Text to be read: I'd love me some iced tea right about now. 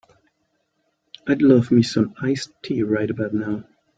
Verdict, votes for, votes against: accepted, 2, 0